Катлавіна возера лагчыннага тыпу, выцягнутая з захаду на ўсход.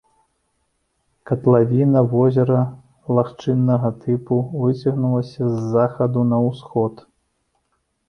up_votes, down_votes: 0, 2